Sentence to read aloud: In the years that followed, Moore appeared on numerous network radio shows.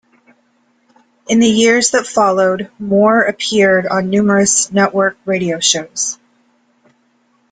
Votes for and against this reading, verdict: 2, 0, accepted